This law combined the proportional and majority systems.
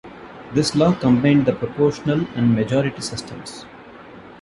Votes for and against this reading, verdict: 1, 2, rejected